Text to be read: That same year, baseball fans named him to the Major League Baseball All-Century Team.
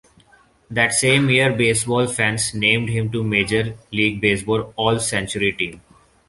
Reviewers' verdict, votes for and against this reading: accepted, 2, 1